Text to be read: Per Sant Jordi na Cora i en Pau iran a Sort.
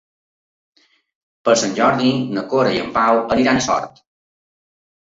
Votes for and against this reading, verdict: 0, 2, rejected